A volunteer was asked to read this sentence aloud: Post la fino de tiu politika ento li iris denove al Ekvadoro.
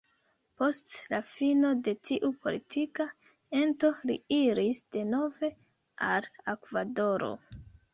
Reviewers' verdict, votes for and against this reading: rejected, 0, 2